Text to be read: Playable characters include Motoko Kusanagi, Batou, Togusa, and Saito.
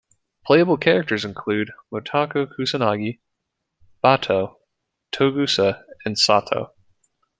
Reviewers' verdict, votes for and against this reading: accepted, 2, 0